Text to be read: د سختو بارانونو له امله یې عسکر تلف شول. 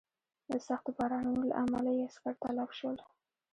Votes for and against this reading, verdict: 2, 0, accepted